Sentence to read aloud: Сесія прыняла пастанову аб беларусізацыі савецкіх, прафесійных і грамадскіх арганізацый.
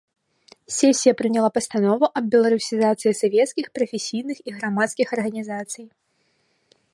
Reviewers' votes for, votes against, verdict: 3, 0, accepted